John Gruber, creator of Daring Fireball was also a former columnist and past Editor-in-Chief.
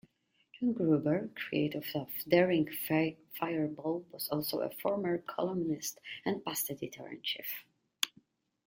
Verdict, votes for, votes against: rejected, 1, 2